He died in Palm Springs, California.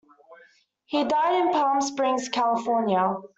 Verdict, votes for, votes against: accepted, 2, 0